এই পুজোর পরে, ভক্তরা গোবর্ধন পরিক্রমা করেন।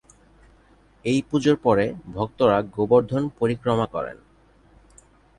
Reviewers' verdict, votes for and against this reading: accepted, 2, 0